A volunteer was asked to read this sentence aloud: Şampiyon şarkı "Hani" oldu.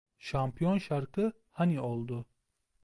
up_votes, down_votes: 2, 0